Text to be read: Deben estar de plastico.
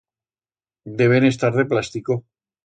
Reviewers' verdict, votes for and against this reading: accepted, 2, 0